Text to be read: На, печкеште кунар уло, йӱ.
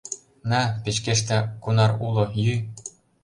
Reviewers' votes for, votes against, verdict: 2, 0, accepted